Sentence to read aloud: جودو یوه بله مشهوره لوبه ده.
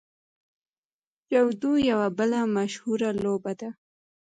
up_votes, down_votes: 2, 0